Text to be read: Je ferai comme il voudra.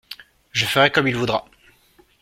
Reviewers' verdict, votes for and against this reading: accepted, 2, 0